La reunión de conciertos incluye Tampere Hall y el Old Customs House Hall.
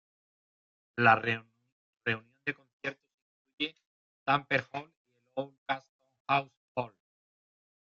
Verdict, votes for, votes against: rejected, 0, 3